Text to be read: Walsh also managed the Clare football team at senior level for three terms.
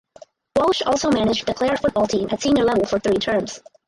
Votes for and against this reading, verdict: 4, 2, accepted